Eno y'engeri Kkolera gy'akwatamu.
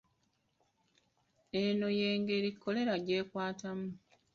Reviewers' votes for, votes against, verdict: 0, 2, rejected